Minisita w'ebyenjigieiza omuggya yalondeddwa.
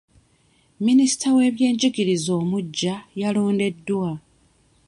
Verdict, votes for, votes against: rejected, 1, 2